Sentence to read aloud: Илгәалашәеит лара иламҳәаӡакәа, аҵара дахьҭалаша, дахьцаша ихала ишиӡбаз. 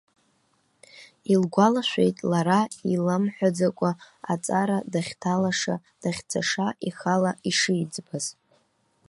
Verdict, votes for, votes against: rejected, 0, 2